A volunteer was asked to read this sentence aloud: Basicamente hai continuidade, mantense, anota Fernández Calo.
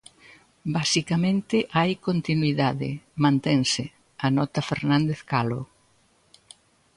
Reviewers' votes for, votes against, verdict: 2, 0, accepted